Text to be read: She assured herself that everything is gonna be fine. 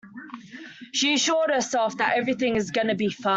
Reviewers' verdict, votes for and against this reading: rejected, 1, 2